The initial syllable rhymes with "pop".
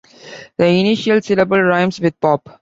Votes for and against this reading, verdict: 2, 1, accepted